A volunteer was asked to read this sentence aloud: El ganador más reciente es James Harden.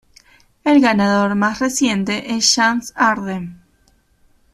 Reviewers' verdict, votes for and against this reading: rejected, 0, 2